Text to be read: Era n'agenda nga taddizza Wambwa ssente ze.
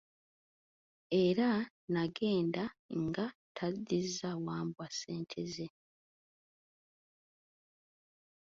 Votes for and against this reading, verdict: 1, 2, rejected